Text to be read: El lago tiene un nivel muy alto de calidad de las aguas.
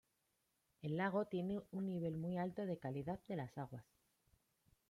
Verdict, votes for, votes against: rejected, 0, 2